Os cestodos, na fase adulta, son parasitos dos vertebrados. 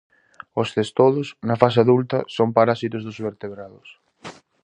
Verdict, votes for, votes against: rejected, 0, 2